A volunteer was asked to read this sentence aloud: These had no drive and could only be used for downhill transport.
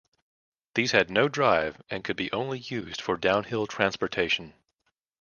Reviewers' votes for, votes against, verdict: 1, 2, rejected